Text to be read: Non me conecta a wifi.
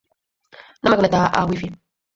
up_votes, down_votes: 0, 4